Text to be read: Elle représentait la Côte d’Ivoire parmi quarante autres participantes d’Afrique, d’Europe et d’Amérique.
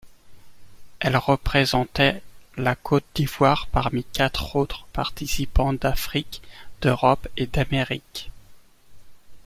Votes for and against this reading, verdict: 1, 2, rejected